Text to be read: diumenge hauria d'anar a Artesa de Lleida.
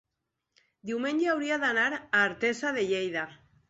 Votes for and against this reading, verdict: 3, 0, accepted